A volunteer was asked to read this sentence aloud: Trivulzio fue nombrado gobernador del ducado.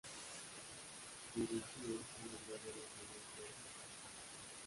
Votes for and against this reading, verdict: 0, 2, rejected